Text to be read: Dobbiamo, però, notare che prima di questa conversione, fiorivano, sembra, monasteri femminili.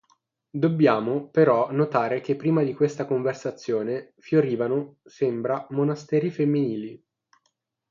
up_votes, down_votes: 3, 6